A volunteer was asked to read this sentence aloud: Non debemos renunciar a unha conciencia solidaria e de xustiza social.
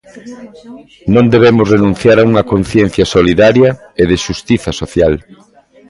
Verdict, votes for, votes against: rejected, 1, 2